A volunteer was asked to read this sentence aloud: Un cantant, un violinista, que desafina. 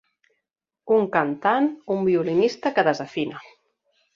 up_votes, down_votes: 4, 0